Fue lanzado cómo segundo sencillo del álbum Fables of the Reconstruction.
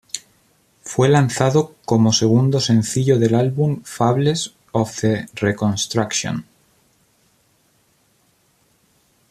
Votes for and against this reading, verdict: 1, 2, rejected